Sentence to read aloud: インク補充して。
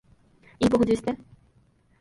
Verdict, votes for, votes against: rejected, 2, 5